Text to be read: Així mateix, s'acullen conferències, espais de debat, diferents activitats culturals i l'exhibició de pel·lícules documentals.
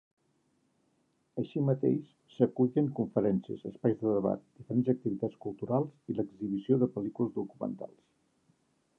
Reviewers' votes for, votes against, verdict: 0, 2, rejected